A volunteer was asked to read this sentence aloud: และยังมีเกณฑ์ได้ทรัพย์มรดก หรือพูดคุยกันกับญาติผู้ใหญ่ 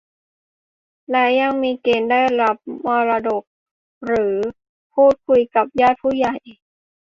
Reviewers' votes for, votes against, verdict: 0, 2, rejected